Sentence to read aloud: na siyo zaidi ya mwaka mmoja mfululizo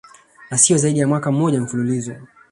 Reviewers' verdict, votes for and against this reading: accepted, 2, 1